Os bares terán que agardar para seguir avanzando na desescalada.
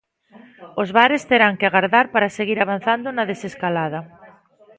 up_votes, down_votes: 1, 2